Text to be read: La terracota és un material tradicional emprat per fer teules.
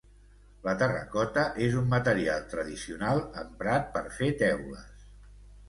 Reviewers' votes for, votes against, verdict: 2, 0, accepted